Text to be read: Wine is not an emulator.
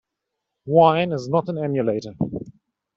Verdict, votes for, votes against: accepted, 2, 0